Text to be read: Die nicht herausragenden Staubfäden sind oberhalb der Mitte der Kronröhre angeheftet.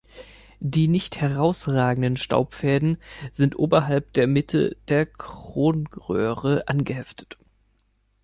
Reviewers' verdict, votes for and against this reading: accepted, 2, 0